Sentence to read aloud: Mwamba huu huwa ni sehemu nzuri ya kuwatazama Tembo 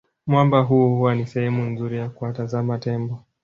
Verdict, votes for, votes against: rejected, 0, 2